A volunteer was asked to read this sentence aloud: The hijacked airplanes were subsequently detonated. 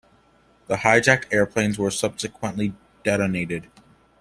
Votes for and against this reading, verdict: 2, 0, accepted